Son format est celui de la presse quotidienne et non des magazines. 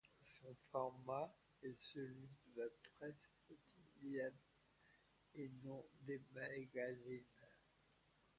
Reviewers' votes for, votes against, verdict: 1, 2, rejected